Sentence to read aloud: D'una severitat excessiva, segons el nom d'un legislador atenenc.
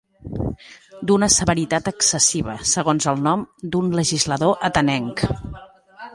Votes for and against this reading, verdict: 2, 0, accepted